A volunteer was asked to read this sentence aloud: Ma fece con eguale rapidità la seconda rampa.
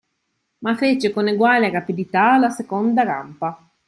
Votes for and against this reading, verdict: 3, 0, accepted